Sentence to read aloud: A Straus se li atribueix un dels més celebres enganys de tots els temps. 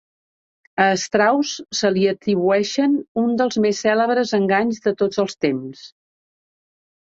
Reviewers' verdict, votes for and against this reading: rejected, 1, 2